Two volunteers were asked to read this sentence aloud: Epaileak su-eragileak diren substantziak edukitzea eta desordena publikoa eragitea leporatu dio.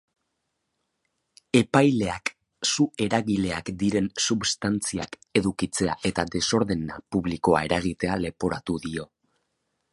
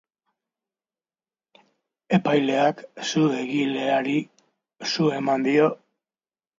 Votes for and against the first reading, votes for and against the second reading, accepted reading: 2, 0, 0, 2, first